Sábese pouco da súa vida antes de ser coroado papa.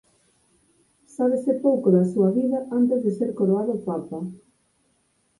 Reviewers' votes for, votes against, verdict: 4, 2, accepted